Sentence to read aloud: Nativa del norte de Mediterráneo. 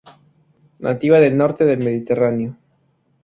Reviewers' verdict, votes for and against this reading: rejected, 0, 4